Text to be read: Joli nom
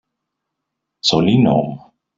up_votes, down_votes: 1, 2